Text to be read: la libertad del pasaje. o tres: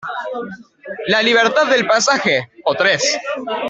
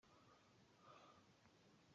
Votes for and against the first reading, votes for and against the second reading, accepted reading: 2, 0, 0, 2, first